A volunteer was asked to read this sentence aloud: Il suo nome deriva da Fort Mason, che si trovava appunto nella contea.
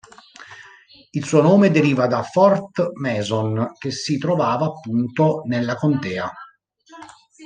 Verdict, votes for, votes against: accepted, 3, 0